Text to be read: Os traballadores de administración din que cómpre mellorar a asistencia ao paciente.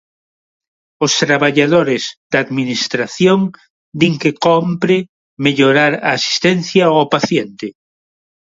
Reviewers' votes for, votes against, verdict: 0, 2, rejected